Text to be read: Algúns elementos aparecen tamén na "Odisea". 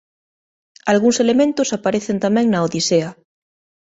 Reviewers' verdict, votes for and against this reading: accepted, 2, 0